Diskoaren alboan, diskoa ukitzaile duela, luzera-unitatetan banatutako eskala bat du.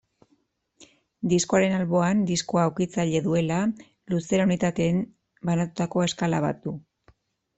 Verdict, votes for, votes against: rejected, 0, 2